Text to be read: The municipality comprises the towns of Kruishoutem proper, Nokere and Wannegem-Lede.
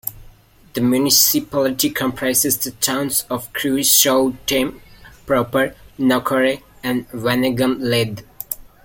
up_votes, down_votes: 2, 1